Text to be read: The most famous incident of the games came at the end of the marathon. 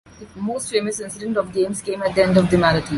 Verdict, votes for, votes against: rejected, 0, 2